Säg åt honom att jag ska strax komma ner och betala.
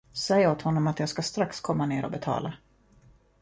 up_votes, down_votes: 2, 0